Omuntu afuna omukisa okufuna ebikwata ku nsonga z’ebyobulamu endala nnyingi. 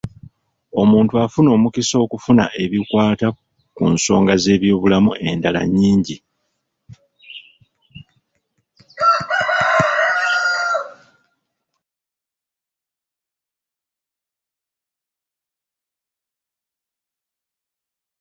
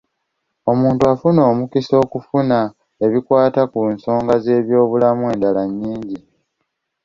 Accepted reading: second